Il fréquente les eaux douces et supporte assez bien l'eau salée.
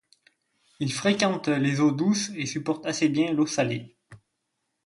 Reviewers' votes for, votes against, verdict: 2, 0, accepted